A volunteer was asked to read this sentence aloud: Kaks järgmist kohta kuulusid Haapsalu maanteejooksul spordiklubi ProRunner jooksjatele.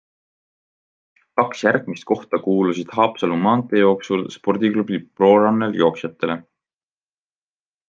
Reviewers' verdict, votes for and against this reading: accepted, 2, 0